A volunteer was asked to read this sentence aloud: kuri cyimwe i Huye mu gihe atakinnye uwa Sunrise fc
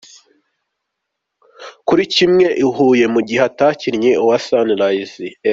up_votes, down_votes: 2, 0